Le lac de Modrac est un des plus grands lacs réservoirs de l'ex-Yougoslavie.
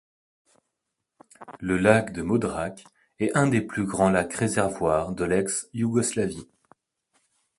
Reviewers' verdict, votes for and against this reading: accepted, 2, 0